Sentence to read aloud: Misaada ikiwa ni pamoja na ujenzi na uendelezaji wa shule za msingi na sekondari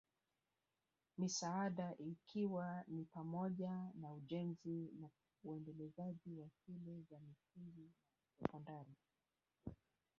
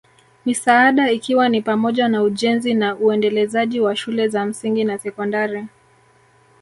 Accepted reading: first